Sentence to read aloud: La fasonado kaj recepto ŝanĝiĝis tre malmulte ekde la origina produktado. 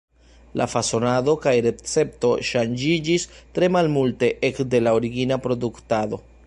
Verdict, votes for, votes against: accepted, 2, 0